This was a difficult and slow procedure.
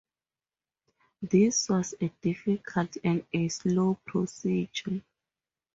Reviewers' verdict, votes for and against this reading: rejected, 0, 2